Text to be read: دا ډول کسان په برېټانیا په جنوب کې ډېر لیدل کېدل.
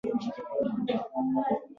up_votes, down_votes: 1, 2